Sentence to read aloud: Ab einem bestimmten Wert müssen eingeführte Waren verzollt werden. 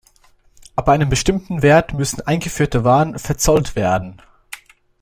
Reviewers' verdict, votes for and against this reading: accepted, 2, 0